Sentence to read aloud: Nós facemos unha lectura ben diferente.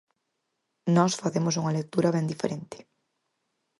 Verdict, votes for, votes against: accepted, 4, 0